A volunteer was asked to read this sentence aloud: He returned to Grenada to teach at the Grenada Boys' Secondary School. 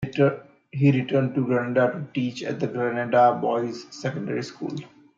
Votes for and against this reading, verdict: 0, 2, rejected